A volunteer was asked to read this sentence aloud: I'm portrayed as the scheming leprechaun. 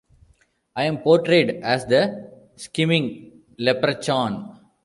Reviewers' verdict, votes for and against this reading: rejected, 1, 2